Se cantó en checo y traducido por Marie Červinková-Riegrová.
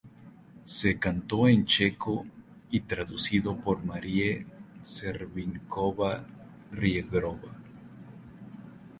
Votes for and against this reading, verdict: 0, 2, rejected